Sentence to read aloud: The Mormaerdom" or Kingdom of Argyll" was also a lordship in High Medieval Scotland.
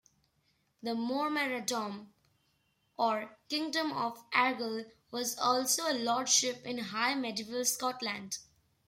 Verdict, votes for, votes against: accepted, 2, 1